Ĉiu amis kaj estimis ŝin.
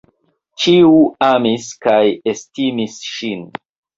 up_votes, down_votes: 3, 0